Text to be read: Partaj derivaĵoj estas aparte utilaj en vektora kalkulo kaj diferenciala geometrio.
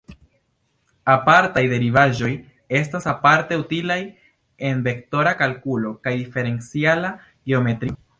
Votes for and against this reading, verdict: 1, 2, rejected